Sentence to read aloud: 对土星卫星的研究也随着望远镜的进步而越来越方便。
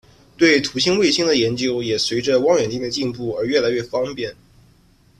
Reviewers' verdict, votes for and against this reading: accepted, 2, 1